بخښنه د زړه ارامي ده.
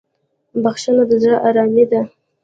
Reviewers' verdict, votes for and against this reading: accepted, 2, 0